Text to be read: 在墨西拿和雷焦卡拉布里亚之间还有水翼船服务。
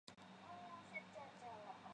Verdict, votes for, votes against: rejected, 1, 4